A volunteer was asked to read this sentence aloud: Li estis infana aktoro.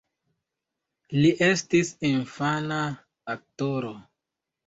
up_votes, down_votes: 2, 0